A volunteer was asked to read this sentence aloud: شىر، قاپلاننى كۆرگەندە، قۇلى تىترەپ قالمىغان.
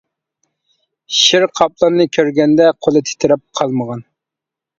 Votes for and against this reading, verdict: 2, 1, accepted